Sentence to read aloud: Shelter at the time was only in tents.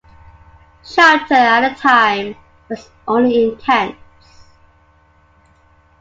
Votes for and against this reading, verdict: 0, 2, rejected